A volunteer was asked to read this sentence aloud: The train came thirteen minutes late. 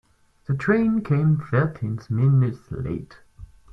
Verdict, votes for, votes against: rejected, 2, 4